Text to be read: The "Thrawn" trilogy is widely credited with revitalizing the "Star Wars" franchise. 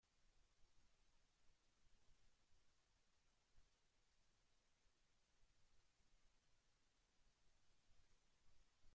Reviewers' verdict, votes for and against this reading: rejected, 0, 2